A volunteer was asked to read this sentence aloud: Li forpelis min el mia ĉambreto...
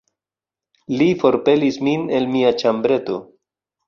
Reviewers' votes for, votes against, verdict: 2, 1, accepted